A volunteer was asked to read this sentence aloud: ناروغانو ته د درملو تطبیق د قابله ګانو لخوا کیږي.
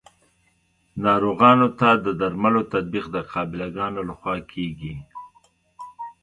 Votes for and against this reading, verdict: 2, 0, accepted